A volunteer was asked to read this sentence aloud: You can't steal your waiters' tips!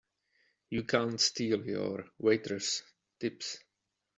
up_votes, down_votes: 2, 0